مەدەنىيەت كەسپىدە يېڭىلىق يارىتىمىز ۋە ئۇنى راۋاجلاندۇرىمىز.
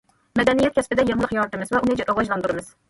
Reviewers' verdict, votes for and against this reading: rejected, 1, 2